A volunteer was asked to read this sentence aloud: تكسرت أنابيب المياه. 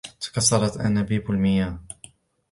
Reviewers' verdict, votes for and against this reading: accepted, 2, 1